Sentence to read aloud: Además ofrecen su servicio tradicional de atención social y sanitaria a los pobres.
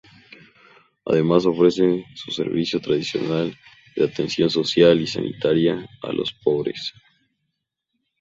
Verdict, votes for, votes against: accepted, 2, 0